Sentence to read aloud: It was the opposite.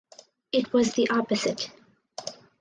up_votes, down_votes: 4, 0